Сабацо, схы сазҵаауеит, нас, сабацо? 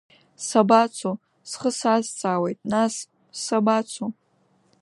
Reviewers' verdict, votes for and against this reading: accepted, 2, 0